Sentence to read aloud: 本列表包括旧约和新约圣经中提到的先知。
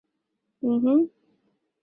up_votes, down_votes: 0, 3